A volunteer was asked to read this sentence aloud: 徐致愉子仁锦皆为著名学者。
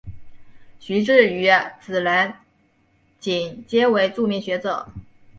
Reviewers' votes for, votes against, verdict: 0, 2, rejected